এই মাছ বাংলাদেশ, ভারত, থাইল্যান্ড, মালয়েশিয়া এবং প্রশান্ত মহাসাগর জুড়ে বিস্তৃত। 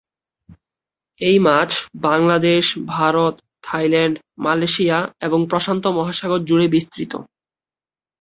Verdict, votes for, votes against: accepted, 3, 0